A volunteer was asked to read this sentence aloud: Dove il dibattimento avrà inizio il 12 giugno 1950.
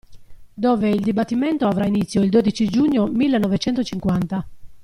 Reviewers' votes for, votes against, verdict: 0, 2, rejected